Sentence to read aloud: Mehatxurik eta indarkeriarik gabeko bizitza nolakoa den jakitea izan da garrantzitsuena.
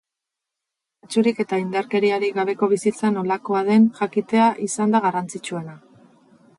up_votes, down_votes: 4, 2